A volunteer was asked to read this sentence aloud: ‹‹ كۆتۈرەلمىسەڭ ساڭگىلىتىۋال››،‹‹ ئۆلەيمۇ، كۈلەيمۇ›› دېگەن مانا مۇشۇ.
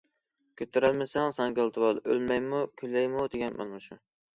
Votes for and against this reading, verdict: 0, 2, rejected